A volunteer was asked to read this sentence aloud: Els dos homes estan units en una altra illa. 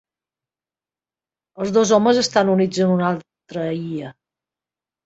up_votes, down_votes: 1, 3